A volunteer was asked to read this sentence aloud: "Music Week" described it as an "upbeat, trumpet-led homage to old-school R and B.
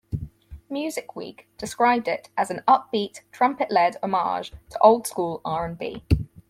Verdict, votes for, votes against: accepted, 4, 0